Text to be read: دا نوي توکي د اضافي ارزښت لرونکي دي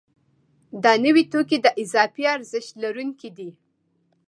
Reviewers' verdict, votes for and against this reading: accepted, 2, 0